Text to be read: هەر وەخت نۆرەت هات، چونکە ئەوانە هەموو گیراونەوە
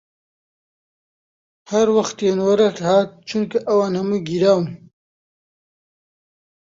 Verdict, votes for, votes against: rejected, 0, 2